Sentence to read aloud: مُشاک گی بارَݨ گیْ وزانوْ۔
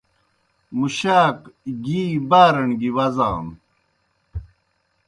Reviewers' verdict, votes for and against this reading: accepted, 2, 0